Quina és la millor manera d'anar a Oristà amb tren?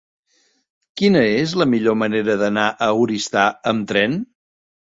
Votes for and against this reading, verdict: 3, 0, accepted